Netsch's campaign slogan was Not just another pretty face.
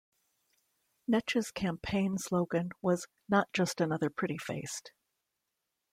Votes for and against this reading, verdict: 2, 0, accepted